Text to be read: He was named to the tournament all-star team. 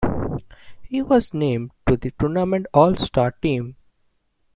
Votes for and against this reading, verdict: 2, 0, accepted